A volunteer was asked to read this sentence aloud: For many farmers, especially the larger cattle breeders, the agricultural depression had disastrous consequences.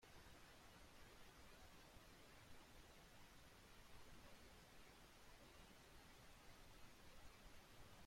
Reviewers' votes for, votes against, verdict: 0, 2, rejected